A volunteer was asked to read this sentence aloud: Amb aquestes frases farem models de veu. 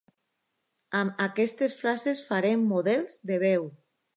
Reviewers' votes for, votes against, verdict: 2, 0, accepted